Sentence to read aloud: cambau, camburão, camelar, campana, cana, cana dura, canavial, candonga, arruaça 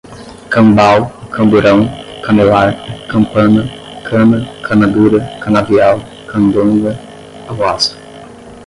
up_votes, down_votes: 5, 5